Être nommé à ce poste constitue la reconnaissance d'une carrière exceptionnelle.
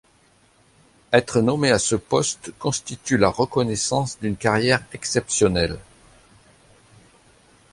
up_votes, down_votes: 3, 0